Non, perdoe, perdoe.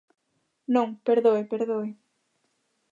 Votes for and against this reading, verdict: 2, 0, accepted